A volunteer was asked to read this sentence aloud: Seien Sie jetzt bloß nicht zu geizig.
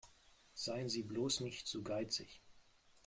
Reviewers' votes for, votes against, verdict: 1, 2, rejected